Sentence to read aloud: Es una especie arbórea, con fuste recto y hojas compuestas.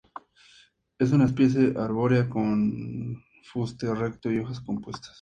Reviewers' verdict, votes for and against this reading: accepted, 2, 0